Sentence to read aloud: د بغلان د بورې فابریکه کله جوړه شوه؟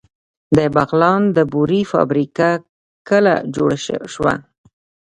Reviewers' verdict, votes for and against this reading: rejected, 1, 2